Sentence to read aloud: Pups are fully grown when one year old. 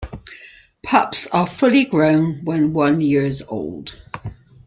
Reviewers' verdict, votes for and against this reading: rejected, 0, 2